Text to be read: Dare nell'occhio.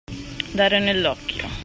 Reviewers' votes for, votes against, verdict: 2, 0, accepted